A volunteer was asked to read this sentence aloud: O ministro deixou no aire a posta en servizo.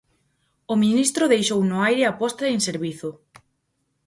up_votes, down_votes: 4, 0